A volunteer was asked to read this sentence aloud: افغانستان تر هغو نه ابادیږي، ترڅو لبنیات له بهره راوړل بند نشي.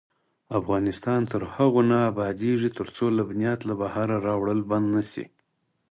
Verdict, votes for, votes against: accepted, 4, 0